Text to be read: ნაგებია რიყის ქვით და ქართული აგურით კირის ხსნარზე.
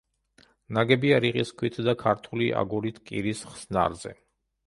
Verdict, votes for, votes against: accepted, 2, 0